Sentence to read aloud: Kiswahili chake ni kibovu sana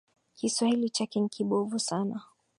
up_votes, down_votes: 5, 1